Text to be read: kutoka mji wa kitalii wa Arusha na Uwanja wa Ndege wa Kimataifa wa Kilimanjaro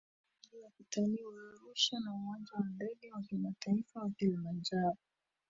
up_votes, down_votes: 0, 2